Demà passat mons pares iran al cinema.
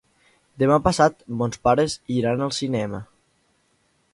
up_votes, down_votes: 2, 0